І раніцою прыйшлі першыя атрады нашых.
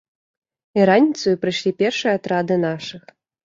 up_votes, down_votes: 2, 3